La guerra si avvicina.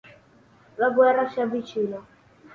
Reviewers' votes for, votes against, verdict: 3, 0, accepted